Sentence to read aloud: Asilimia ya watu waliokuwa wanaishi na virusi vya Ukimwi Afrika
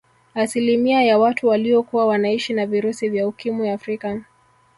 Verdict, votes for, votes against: rejected, 1, 2